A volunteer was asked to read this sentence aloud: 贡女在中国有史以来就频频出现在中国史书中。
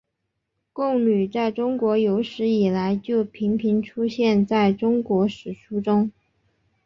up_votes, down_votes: 3, 2